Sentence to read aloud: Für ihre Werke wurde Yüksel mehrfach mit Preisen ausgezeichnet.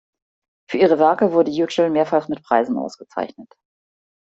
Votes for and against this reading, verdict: 2, 0, accepted